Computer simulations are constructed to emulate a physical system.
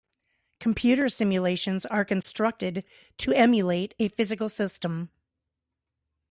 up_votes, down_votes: 0, 2